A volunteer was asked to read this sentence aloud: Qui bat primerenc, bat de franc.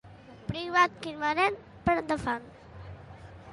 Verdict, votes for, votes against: rejected, 0, 2